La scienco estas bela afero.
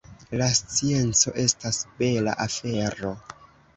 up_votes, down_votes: 2, 0